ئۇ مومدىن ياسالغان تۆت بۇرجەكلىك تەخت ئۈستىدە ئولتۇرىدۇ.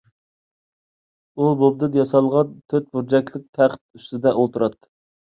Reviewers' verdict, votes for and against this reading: rejected, 1, 2